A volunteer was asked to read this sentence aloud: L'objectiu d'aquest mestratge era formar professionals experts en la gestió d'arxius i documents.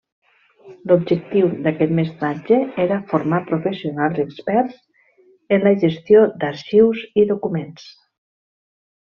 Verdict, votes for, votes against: accepted, 2, 0